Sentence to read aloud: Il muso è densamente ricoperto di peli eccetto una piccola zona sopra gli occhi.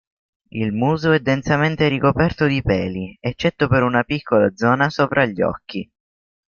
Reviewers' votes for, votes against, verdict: 1, 2, rejected